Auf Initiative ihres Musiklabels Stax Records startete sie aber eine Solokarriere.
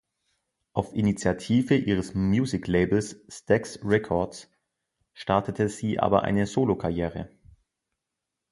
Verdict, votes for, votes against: rejected, 1, 2